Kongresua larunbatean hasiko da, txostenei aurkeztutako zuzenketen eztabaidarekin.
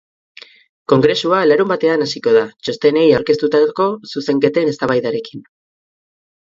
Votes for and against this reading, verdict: 4, 0, accepted